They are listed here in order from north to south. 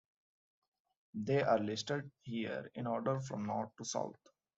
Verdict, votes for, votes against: accepted, 2, 0